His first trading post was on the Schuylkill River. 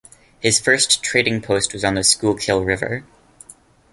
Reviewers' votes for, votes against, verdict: 2, 0, accepted